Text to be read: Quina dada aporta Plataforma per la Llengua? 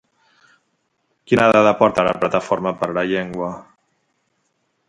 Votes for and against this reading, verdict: 0, 2, rejected